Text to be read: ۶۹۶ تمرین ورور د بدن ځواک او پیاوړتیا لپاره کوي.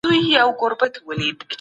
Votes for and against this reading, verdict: 0, 2, rejected